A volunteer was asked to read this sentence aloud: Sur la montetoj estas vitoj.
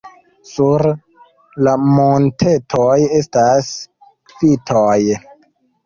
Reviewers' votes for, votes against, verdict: 3, 1, accepted